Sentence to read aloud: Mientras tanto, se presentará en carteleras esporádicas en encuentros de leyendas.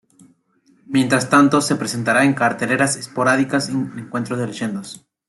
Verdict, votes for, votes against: accepted, 3, 2